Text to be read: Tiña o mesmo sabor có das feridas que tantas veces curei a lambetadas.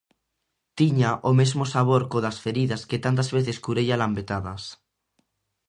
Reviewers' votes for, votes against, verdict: 2, 0, accepted